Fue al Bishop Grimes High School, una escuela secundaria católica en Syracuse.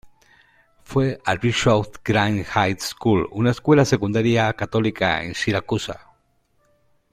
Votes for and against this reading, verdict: 1, 2, rejected